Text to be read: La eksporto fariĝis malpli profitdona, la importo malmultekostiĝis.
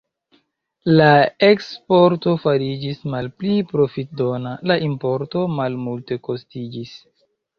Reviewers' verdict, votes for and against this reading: rejected, 0, 2